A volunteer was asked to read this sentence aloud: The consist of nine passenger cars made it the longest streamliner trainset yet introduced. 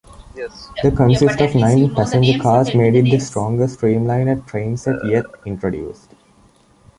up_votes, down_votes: 2, 0